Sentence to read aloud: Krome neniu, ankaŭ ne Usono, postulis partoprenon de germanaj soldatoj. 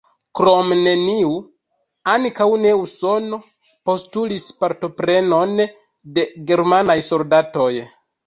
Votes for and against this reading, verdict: 1, 2, rejected